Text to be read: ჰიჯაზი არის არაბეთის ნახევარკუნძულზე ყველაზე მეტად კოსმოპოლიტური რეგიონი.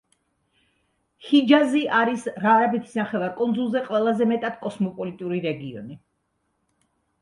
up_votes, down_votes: 1, 2